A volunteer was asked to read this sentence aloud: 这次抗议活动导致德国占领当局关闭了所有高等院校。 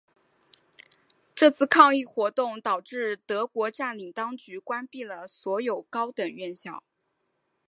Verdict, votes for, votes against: rejected, 0, 2